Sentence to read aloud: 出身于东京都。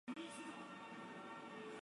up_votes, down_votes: 0, 2